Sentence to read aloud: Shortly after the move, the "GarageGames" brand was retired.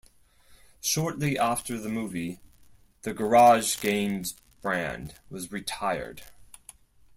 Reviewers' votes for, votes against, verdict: 2, 4, rejected